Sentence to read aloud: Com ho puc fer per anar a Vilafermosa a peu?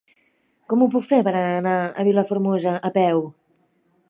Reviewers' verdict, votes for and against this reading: accepted, 3, 1